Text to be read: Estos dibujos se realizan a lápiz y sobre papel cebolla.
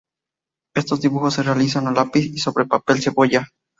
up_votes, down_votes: 2, 2